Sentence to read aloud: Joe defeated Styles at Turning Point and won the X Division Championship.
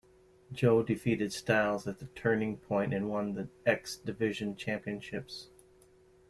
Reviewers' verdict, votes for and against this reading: rejected, 1, 2